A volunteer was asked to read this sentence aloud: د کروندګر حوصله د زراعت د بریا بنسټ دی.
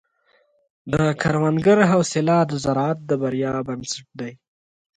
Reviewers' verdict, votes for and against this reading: accepted, 2, 0